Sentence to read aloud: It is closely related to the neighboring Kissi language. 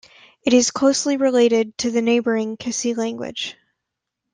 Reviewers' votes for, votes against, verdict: 2, 0, accepted